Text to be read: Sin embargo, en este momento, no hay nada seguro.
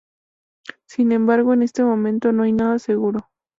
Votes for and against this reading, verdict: 2, 0, accepted